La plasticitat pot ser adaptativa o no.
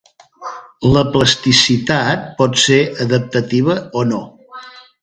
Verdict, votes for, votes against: accepted, 2, 0